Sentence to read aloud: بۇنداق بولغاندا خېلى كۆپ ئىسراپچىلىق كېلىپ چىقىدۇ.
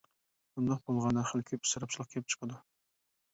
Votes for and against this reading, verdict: 0, 2, rejected